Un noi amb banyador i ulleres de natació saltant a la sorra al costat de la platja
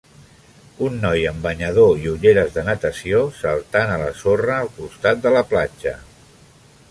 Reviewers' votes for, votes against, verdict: 3, 0, accepted